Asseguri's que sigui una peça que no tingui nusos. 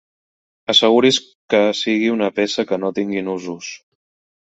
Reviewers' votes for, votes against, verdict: 1, 2, rejected